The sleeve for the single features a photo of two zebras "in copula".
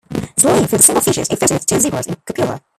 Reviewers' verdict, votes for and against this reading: rejected, 0, 2